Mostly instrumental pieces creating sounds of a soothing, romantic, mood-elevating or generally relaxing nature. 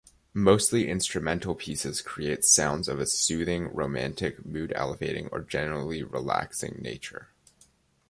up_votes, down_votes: 1, 2